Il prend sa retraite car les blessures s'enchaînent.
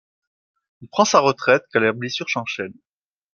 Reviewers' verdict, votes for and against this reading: rejected, 0, 2